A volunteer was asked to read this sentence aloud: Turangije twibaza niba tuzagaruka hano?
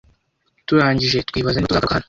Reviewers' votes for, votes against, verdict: 1, 2, rejected